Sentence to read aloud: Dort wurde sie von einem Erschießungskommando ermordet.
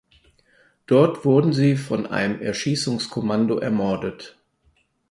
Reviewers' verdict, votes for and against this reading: rejected, 0, 4